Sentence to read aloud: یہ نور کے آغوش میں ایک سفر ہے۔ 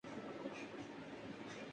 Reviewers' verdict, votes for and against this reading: rejected, 0, 2